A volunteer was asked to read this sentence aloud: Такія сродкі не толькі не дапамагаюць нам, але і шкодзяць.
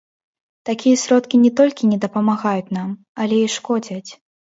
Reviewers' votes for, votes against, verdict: 2, 0, accepted